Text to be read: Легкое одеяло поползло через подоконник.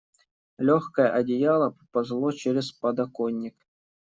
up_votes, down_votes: 1, 2